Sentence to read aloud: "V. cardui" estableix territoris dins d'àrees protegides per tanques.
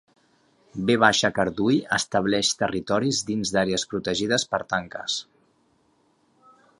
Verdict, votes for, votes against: accepted, 2, 0